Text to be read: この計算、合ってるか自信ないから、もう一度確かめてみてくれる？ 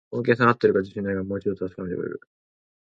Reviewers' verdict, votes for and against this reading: rejected, 0, 2